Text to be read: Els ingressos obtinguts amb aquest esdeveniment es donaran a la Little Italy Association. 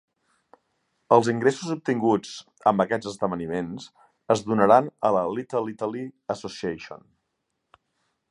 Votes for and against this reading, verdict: 1, 2, rejected